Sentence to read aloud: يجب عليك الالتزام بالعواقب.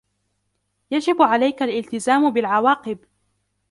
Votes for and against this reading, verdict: 2, 1, accepted